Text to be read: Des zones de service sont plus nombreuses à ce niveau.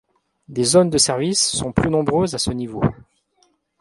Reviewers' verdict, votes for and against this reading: accepted, 2, 0